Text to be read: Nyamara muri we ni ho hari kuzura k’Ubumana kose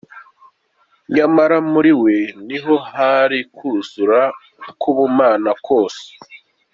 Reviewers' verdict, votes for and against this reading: accepted, 2, 0